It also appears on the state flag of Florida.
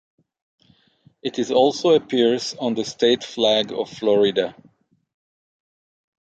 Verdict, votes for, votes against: rejected, 0, 6